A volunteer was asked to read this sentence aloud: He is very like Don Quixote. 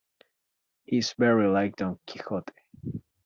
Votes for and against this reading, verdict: 2, 0, accepted